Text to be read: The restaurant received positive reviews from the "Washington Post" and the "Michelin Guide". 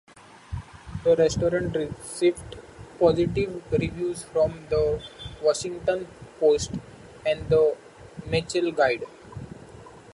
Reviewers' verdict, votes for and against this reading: rejected, 0, 2